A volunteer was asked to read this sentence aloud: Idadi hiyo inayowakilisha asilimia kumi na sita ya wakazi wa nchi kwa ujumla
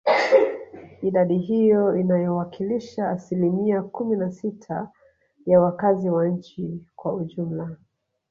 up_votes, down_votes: 1, 2